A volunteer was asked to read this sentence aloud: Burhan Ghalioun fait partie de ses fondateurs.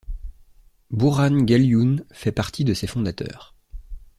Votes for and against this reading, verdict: 2, 0, accepted